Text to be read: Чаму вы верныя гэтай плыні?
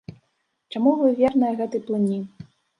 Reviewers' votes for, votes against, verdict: 1, 2, rejected